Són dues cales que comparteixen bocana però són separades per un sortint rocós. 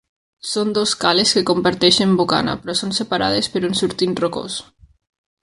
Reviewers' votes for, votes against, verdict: 1, 2, rejected